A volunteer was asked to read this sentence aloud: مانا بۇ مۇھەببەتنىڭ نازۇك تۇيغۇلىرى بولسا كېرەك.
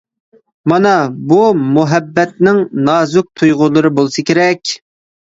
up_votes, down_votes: 2, 0